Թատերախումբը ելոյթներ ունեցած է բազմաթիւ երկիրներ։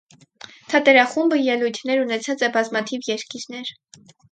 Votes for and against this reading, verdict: 4, 0, accepted